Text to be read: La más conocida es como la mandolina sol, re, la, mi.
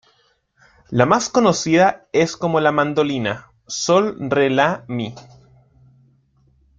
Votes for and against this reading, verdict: 2, 0, accepted